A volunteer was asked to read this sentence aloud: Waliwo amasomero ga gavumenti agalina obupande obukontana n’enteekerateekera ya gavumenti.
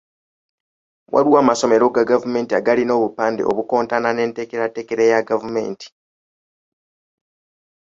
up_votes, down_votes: 0, 2